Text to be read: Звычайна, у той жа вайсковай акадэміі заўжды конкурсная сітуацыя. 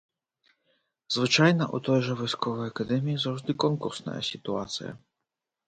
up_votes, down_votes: 2, 0